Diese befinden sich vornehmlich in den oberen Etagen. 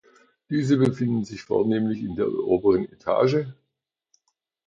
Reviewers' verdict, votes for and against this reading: rejected, 0, 2